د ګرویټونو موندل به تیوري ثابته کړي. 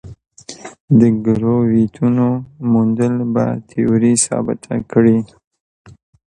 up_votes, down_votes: 2, 1